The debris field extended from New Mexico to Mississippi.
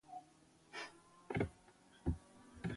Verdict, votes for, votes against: rejected, 0, 4